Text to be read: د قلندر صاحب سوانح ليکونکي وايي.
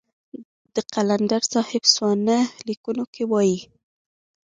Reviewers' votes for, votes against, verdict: 2, 0, accepted